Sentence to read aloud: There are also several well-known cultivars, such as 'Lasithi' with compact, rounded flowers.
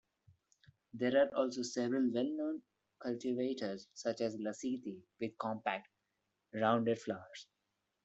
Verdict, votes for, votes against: rejected, 1, 2